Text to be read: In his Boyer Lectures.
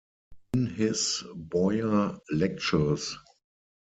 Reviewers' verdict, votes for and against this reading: rejected, 2, 4